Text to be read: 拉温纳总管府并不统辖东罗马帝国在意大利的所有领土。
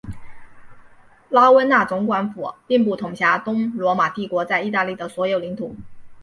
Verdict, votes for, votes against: accepted, 2, 0